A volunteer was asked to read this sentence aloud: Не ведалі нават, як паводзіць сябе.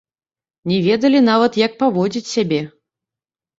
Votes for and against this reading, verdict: 0, 2, rejected